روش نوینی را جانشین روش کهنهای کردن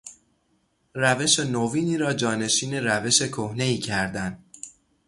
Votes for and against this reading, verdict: 3, 3, rejected